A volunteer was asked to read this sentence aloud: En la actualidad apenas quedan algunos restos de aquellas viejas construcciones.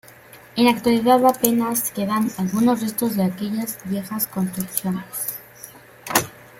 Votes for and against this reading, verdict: 2, 0, accepted